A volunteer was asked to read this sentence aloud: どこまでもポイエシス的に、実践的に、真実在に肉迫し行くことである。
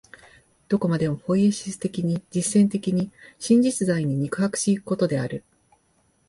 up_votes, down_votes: 2, 0